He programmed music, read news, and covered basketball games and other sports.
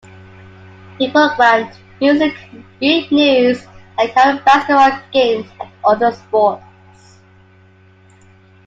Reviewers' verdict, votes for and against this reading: rejected, 1, 2